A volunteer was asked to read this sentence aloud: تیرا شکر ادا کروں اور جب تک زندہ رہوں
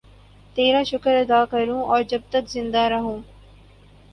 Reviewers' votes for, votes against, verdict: 4, 0, accepted